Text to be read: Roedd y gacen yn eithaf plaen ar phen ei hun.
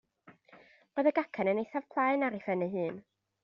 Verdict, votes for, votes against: accepted, 2, 0